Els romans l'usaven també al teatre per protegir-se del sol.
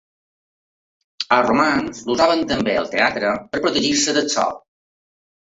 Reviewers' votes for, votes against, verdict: 2, 0, accepted